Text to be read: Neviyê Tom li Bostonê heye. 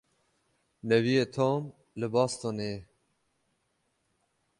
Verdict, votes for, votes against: rejected, 0, 6